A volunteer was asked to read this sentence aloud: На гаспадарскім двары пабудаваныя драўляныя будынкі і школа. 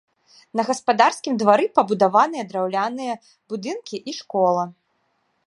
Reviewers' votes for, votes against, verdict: 2, 0, accepted